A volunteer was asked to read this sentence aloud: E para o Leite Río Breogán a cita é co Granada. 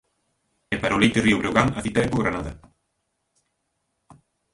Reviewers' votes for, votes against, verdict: 1, 2, rejected